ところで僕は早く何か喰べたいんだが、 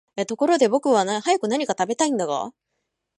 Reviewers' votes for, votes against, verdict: 1, 2, rejected